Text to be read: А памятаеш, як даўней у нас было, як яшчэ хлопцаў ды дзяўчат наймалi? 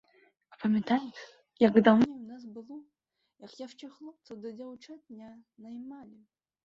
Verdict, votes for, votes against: rejected, 0, 2